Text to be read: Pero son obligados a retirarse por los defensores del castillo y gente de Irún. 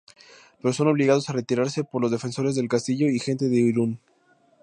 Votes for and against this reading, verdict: 2, 0, accepted